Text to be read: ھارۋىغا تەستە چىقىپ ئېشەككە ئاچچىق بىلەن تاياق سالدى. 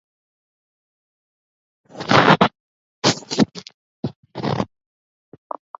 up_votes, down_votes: 0, 2